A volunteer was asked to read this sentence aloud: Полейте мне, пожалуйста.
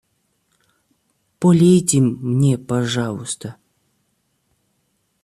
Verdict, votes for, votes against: rejected, 0, 2